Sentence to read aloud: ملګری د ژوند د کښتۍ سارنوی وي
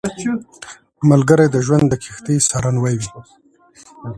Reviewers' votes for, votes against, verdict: 2, 1, accepted